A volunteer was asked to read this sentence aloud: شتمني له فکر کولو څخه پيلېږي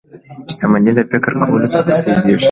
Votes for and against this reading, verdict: 1, 2, rejected